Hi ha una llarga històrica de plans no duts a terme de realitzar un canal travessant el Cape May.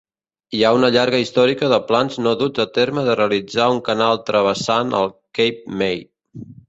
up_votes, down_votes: 0, 2